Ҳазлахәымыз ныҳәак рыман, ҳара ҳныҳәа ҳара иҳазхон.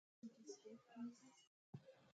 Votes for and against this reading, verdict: 0, 2, rejected